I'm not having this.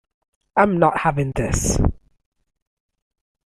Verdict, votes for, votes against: accepted, 2, 0